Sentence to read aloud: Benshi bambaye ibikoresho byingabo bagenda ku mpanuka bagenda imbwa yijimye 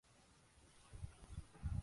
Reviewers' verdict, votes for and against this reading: rejected, 0, 2